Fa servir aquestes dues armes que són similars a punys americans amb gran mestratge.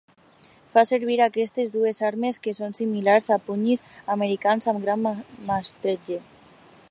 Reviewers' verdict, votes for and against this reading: rejected, 1, 2